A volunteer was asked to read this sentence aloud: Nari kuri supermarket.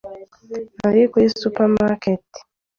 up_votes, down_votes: 2, 0